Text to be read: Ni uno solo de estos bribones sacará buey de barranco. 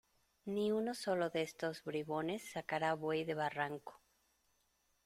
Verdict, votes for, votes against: accepted, 2, 0